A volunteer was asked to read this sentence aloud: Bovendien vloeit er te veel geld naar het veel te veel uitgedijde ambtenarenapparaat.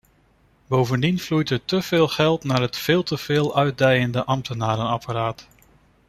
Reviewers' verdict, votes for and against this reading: rejected, 0, 2